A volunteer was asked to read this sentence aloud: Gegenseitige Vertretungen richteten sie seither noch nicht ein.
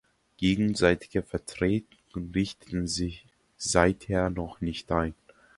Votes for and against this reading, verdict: 0, 2, rejected